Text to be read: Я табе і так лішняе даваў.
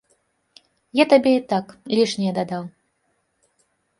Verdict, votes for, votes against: rejected, 1, 2